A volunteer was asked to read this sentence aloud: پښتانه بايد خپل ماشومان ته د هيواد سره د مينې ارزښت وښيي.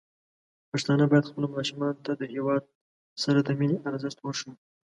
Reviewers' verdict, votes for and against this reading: accepted, 2, 0